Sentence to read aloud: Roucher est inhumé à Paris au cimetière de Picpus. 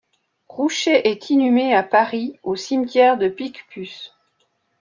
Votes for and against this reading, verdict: 2, 0, accepted